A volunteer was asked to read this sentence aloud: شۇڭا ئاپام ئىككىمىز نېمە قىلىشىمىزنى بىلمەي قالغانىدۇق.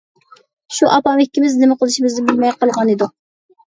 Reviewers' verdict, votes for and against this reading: rejected, 0, 2